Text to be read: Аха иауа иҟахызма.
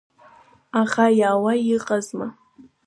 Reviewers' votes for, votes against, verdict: 1, 2, rejected